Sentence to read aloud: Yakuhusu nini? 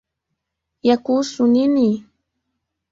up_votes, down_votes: 2, 1